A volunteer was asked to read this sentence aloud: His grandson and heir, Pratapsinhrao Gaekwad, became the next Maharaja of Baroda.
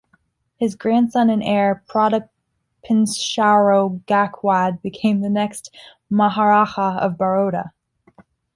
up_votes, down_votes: 0, 2